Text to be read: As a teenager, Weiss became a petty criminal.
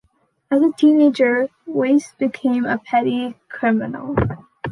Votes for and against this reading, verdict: 1, 2, rejected